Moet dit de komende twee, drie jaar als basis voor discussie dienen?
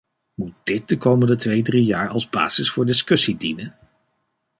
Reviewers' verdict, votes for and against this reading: rejected, 1, 2